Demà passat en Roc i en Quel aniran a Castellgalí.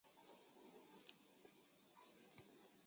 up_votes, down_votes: 0, 2